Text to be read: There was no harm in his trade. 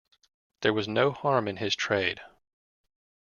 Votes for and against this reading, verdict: 2, 0, accepted